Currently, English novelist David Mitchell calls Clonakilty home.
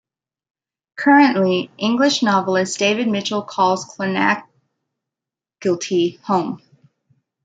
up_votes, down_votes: 1, 2